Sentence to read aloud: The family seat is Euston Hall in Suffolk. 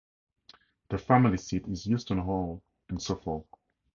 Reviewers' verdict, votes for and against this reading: accepted, 2, 0